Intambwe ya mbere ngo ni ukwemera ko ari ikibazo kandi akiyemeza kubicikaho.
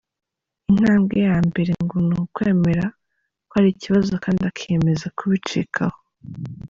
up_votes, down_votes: 0, 2